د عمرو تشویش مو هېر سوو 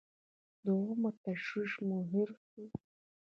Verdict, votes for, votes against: rejected, 1, 2